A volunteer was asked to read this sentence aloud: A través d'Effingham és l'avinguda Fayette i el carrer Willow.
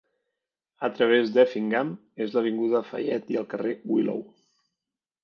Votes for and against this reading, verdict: 2, 0, accepted